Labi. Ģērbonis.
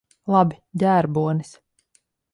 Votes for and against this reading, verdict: 4, 0, accepted